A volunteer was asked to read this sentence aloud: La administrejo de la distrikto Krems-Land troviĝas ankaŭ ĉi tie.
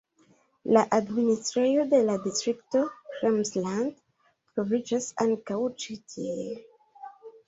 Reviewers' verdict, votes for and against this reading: rejected, 0, 2